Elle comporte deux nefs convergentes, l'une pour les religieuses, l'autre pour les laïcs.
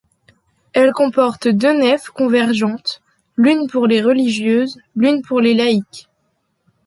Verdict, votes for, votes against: rejected, 1, 2